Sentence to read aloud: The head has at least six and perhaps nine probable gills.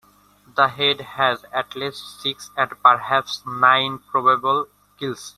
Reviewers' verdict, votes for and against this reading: accepted, 2, 1